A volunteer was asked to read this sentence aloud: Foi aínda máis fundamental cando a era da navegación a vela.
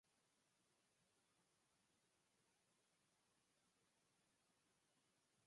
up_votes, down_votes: 0, 4